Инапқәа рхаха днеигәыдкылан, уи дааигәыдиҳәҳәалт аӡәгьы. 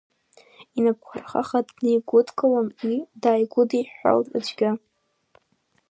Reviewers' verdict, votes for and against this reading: rejected, 1, 2